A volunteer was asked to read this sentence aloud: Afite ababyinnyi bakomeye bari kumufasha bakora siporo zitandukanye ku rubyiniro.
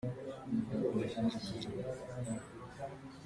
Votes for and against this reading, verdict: 0, 2, rejected